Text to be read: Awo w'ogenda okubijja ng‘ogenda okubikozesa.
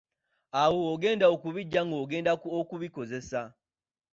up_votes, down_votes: 3, 0